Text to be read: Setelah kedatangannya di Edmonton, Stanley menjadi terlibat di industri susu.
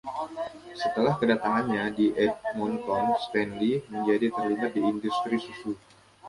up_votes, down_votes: 1, 2